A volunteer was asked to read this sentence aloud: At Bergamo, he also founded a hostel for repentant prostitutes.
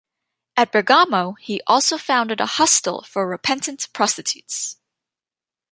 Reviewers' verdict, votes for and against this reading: accepted, 2, 0